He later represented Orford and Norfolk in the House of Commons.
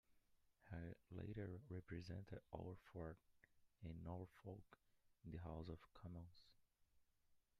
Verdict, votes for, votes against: rejected, 1, 2